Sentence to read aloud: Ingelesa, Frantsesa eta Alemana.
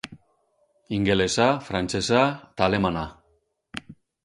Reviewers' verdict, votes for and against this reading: rejected, 2, 2